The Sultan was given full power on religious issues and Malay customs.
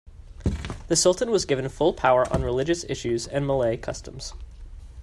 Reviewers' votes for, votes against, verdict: 2, 1, accepted